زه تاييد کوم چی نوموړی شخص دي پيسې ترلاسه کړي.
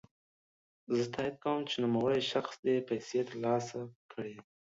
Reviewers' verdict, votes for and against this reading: accepted, 2, 0